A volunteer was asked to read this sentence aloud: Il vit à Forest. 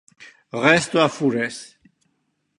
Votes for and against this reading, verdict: 0, 2, rejected